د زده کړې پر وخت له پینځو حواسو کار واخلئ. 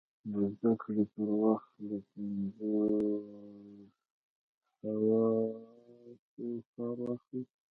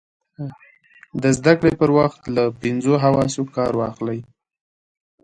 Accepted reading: second